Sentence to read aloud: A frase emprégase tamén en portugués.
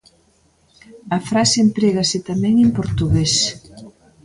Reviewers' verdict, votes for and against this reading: rejected, 1, 2